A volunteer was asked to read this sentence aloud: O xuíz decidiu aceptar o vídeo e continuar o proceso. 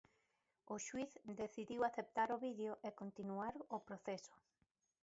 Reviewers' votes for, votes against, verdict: 0, 2, rejected